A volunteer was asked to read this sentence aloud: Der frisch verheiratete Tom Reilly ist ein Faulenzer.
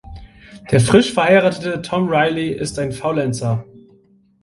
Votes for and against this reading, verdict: 2, 1, accepted